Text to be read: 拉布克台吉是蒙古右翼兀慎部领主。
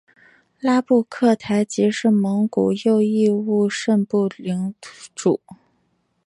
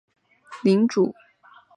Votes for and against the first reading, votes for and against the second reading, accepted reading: 2, 0, 0, 2, first